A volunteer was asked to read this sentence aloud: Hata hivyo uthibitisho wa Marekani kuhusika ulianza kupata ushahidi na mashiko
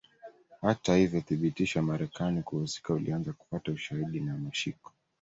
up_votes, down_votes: 2, 0